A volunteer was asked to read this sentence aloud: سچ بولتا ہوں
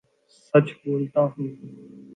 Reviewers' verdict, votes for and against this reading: accepted, 2, 0